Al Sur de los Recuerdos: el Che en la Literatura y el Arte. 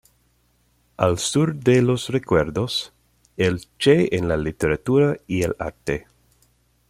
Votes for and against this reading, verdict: 2, 0, accepted